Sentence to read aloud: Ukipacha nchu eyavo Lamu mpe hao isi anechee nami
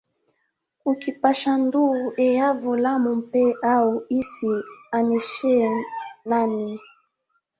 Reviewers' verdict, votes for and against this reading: rejected, 1, 2